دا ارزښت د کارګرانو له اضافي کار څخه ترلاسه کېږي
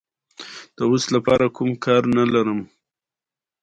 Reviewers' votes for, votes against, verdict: 1, 2, rejected